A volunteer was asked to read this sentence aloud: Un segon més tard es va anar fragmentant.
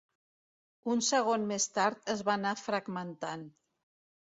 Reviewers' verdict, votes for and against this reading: accepted, 2, 0